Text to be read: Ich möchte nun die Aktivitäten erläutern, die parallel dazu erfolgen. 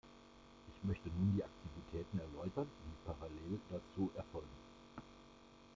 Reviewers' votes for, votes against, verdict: 1, 2, rejected